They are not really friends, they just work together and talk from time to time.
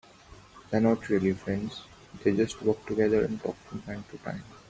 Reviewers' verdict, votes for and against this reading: accepted, 4, 0